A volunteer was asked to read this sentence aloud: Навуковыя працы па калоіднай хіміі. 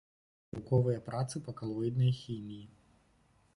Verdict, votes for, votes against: rejected, 1, 2